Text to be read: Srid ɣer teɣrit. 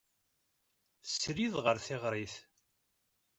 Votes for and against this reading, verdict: 2, 0, accepted